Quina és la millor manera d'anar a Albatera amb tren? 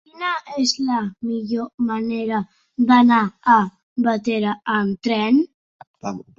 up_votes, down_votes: 0, 2